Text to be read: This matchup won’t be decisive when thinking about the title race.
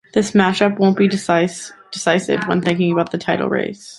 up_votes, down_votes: 1, 2